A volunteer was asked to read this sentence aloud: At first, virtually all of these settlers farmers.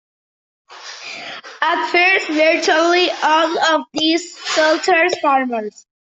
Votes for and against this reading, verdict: 0, 2, rejected